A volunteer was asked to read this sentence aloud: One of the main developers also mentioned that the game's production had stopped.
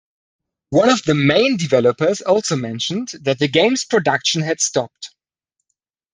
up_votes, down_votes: 2, 0